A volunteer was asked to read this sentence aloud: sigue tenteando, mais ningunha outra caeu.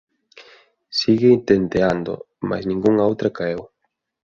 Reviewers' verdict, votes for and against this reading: accepted, 2, 0